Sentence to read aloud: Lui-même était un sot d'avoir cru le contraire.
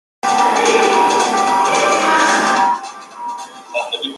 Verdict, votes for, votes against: rejected, 0, 2